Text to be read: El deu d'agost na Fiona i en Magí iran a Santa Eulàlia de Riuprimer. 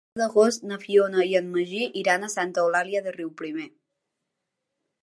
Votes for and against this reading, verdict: 1, 2, rejected